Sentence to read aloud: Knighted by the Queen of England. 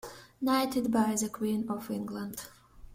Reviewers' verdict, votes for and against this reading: rejected, 1, 2